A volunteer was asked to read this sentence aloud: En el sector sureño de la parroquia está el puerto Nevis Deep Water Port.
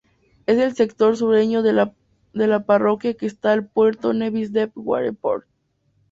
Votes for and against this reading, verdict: 0, 2, rejected